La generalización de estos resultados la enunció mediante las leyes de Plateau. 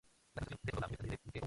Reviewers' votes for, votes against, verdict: 2, 2, rejected